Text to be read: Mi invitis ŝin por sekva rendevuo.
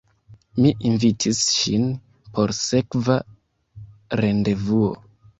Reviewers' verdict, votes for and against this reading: accepted, 2, 0